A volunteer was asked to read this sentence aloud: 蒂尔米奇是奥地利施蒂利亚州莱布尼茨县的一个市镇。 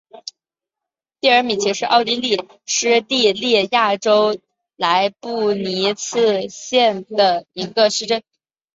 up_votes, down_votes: 2, 1